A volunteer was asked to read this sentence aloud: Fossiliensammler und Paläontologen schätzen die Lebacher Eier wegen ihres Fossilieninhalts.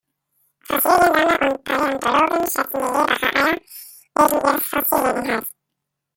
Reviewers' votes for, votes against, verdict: 0, 2, rejected